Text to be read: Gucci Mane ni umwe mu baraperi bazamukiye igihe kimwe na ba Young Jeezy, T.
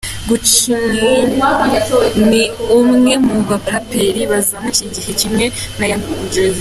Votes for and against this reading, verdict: 0, 2, rejected